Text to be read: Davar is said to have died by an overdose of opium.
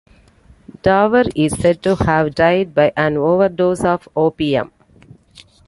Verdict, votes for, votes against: accepted, 2, 0